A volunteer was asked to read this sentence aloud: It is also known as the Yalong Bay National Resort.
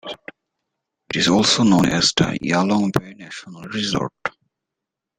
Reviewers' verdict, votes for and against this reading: accepted, 2, 0